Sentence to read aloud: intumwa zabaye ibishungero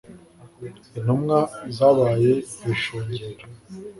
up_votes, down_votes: 2, 0